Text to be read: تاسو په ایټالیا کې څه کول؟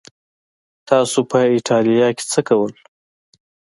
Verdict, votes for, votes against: accepted, 2, 0